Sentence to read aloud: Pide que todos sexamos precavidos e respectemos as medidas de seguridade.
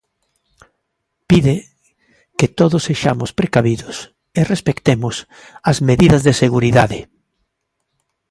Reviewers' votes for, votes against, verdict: 2, 0, accepted